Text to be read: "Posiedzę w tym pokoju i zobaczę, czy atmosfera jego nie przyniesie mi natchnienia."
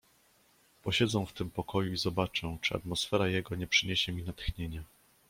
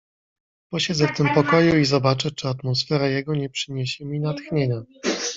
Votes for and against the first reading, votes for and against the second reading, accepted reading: 2, 0, 1, 2, first